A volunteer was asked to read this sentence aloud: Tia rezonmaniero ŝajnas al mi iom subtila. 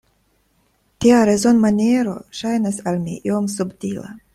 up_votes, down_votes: 2, 0